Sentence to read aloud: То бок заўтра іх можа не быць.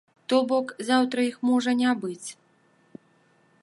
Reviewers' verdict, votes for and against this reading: accepted, 2, 0